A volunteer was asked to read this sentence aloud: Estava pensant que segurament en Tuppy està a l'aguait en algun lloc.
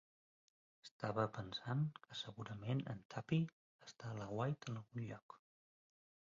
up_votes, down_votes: 2, 1